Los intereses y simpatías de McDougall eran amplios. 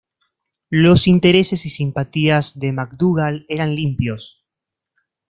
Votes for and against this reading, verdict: 1, 2, rejected